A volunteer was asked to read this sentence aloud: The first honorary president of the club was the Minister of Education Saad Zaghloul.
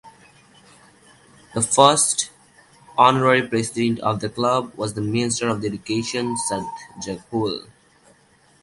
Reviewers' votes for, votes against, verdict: 0, 2, rejected